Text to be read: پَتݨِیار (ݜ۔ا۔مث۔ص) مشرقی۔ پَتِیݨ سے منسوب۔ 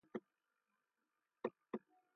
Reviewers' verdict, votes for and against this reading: rejected, 0, 2